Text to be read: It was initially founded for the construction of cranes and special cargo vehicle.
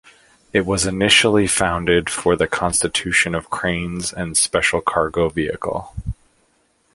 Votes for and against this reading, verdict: 1, 2, rejected